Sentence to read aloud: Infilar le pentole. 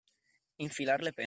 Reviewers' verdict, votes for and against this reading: rejected, 0, 2